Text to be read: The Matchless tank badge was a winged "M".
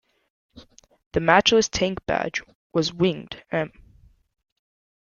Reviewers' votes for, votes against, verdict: 0, 2, rejected